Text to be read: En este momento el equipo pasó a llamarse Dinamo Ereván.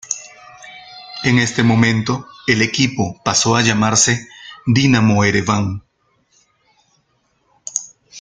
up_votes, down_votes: 1, 2